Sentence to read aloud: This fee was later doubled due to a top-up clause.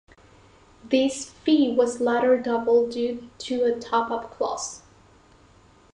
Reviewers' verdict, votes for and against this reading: rejected, 1, 2